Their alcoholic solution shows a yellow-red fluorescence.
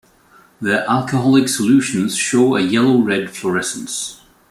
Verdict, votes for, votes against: rejected, 1, 2